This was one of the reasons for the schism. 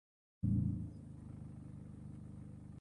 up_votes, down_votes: 0, 2